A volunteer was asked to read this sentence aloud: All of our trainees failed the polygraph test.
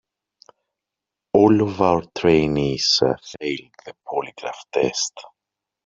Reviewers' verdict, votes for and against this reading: rejected, 1, 2